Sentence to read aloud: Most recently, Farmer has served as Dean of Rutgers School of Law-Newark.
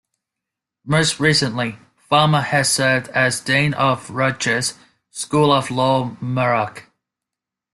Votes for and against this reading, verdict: 2, 0, accepted